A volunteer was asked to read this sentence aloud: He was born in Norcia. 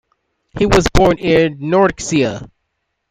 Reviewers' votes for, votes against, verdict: 0, 2, rejected